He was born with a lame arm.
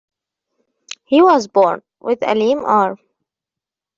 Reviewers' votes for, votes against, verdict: 2, 0, accepted